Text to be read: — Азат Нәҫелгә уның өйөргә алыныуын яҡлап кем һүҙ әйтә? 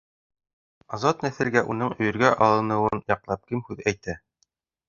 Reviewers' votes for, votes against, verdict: 0, 2, rejected